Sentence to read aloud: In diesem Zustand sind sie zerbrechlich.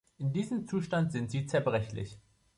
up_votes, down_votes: 2, 0